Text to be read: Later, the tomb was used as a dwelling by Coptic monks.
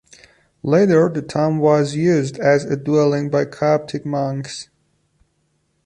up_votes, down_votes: 2, 0